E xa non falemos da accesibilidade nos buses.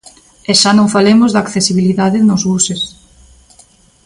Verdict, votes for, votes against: accepted, 2, 0